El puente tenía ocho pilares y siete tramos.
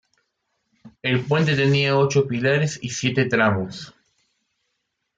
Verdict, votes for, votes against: accepted, 2, 1